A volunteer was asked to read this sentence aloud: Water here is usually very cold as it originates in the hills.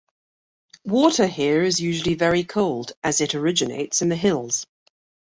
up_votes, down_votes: 2, 1